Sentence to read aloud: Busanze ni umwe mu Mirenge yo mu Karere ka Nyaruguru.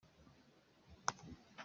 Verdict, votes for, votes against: rejected, 0, 2